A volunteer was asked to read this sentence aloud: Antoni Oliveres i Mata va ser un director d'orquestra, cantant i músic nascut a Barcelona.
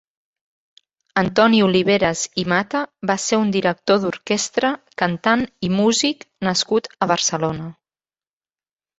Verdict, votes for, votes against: accepted, 3, 0